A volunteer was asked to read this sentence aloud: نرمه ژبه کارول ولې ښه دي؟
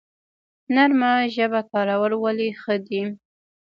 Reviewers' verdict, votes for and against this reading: rejected, 0, 2